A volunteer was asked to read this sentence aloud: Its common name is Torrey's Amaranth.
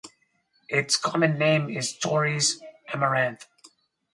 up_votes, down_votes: 4, 0